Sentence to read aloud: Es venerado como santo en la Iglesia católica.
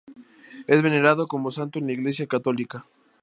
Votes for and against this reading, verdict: 0, 2, rejected